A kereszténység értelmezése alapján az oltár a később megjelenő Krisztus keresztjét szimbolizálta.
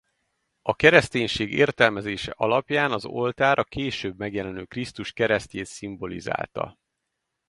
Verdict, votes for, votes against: accepted, 4, 0